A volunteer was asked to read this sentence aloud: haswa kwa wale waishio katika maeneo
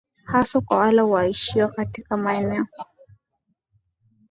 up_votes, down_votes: 4, 0